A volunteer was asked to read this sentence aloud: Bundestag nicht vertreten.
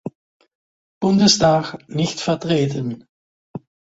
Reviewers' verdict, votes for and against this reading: accepted, 2, 0